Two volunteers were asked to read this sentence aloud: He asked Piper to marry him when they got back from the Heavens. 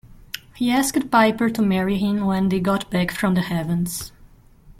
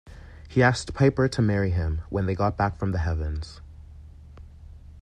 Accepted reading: second